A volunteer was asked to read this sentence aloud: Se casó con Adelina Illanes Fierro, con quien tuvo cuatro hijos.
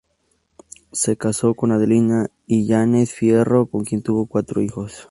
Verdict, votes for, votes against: accepted, 2, 0